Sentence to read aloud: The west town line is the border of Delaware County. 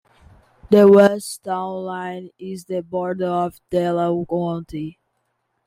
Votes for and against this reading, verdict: 2, 0, accepted